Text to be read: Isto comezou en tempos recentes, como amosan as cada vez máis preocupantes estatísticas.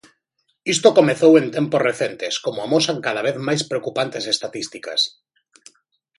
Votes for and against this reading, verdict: 0, 2, rejected